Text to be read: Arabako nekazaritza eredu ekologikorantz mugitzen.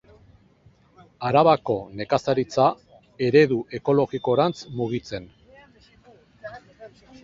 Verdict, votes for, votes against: accepted, 2, 1